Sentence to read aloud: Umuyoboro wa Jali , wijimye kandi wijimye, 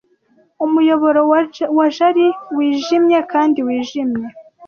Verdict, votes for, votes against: rejected, 1, 2